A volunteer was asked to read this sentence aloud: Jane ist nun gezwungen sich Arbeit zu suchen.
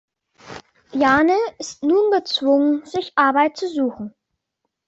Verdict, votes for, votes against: accepted, 2, 1